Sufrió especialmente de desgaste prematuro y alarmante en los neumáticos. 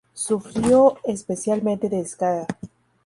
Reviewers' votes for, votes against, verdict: 0, 2, rejected